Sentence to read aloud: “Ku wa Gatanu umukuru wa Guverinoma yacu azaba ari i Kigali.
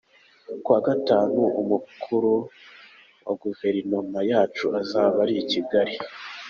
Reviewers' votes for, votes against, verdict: 2, 0, accepted